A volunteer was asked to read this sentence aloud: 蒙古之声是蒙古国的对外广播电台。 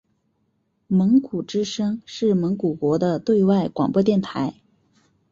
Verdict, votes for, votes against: accepted, 3, 0